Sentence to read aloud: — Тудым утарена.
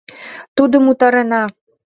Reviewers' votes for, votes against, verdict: 2, 0, accepted